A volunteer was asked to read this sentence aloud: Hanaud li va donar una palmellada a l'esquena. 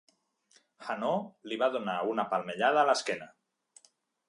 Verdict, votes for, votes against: accepted, 2, 0